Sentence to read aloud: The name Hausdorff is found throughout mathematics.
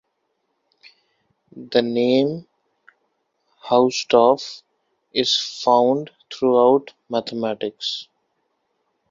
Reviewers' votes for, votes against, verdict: 2, 0, accepted